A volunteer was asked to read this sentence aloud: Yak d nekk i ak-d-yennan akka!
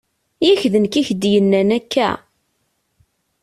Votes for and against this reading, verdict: 2, 0, accepted